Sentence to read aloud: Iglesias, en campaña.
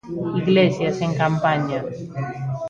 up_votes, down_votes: 0, 2